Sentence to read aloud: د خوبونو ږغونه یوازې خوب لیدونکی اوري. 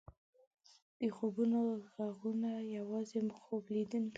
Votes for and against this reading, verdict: 1, 2, rejected